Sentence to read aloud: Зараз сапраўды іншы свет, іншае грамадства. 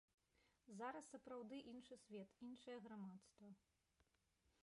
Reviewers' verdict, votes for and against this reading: rejected, 0, 2